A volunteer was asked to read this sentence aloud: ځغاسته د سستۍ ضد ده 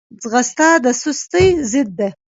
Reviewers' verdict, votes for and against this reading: rejected, 0, 2